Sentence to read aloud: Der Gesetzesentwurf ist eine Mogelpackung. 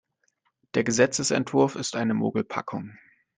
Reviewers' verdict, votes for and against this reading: accepted, 2, 0